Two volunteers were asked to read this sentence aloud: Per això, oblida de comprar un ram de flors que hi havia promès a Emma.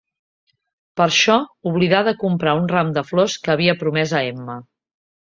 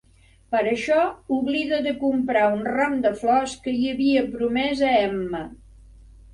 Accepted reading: second